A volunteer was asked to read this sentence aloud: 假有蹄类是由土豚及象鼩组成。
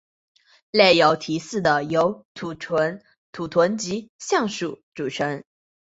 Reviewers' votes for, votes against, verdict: 3, 0, accepted